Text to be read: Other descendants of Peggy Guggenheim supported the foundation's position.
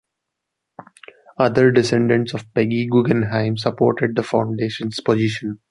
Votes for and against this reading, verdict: 2, 0, accepted